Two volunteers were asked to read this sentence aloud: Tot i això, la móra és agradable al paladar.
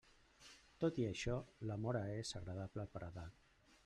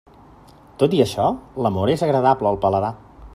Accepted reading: second